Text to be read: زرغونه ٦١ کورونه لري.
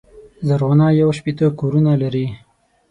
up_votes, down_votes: 0, 2